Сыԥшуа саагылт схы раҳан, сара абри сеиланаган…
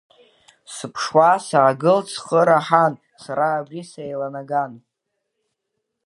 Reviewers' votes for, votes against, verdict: 1, 2, rejected